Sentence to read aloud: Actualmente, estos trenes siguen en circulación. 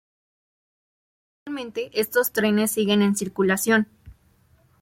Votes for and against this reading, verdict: 0, 2, rejected